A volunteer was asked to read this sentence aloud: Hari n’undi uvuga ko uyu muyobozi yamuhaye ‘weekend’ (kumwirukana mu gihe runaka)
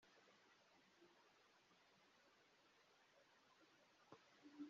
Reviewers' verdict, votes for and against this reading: rejected, 0, 3